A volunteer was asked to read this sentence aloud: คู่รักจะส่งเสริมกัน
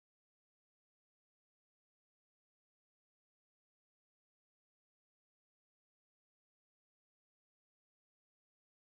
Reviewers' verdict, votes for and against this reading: rejected, 0, 2